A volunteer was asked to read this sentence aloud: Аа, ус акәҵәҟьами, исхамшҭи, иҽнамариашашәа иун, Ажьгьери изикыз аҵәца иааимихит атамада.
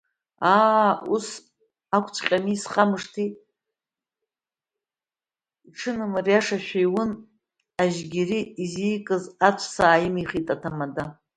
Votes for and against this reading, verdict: 0, 2, rejected